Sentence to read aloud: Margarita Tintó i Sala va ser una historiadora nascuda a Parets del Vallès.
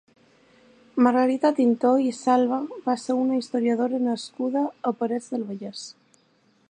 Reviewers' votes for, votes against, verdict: 0, 3, rejected